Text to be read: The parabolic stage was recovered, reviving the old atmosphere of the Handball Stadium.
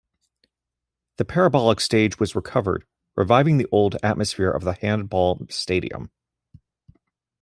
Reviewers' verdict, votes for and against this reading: accepted, 2, 0